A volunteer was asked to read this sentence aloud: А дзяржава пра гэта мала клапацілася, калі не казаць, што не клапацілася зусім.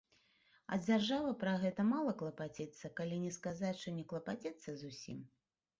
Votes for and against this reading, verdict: 0, 3, rejected